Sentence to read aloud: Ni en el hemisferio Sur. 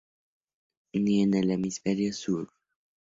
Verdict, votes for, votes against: accepted, 2, 0